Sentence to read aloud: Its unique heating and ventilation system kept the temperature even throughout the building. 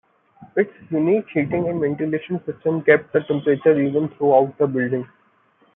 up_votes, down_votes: 2, 0